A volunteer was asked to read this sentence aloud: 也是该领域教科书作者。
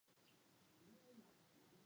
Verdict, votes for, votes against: rejected, 0, 2